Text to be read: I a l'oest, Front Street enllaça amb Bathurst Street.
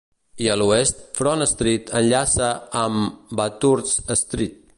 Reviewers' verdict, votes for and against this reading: accepted, 4, 0